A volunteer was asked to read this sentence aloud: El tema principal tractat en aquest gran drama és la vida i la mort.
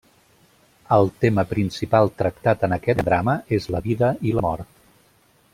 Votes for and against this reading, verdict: 0, 2, rejected